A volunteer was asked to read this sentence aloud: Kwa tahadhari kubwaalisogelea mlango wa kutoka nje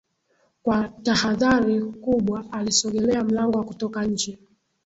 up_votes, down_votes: 2, 1